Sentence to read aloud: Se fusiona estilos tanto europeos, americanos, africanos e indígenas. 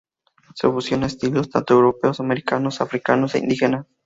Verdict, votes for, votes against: accepted, 2, 0